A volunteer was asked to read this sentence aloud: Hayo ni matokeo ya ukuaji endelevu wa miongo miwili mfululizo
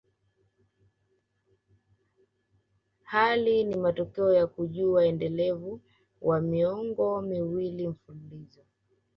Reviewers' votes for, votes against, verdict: 2, 1, accepted